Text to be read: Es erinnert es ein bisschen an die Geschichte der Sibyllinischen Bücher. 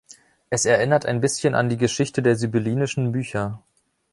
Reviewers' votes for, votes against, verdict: 0, 2, rejected